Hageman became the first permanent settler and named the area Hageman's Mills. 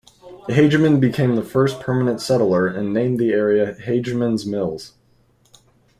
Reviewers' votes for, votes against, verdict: 1, 2, rejected